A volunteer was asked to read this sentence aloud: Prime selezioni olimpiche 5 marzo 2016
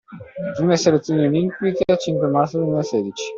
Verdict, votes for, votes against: rejected, 0, 2